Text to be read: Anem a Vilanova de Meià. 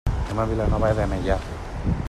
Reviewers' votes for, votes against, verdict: 1, 2, rejected